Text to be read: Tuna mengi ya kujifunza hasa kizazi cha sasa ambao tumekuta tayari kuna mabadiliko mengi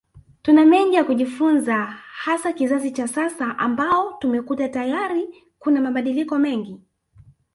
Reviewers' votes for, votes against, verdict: 1, 2, rejected